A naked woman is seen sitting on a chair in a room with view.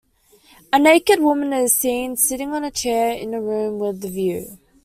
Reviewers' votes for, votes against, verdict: 2, 1, accepted